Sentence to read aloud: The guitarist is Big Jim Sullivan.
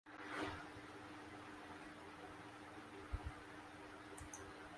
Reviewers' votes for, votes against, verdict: 0, 2, rejected